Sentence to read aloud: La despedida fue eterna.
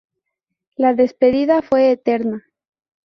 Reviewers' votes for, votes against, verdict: 2, 0, accepted